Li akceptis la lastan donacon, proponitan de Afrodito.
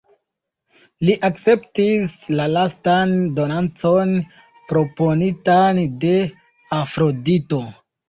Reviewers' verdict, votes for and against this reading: rejected, 0, 2